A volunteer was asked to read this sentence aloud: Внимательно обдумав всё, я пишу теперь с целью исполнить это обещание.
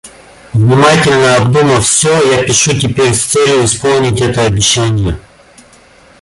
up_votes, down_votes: 1, 2